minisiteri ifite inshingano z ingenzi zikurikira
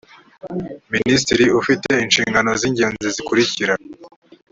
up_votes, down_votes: 3, 1